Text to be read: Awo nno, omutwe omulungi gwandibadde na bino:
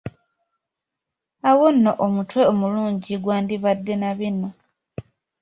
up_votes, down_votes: 2, 0